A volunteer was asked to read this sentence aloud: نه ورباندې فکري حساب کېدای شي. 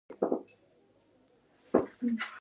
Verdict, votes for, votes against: rejected, 1, 2